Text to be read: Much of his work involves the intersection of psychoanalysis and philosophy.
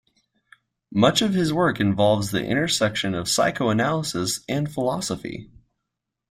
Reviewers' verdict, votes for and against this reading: accepted, 2, 0